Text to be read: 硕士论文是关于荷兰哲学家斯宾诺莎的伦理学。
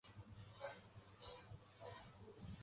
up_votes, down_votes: 0, 2